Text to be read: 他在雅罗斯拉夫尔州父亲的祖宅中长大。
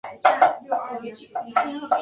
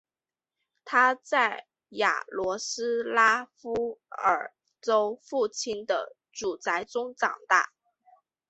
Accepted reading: second